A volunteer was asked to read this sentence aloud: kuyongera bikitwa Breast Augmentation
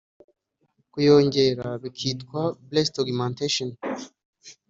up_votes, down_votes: 2, 0